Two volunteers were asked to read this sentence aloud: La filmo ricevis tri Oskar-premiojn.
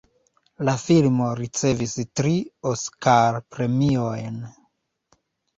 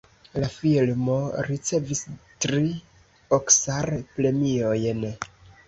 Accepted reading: first